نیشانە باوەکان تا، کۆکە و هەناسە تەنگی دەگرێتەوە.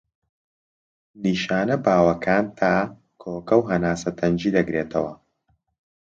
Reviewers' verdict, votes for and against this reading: accepted, 2, 0